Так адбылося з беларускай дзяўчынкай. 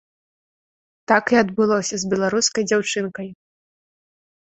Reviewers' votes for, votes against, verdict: 1, 2, rejected